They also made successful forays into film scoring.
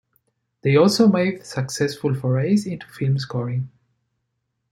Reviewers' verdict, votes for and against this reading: accepted, 5, 0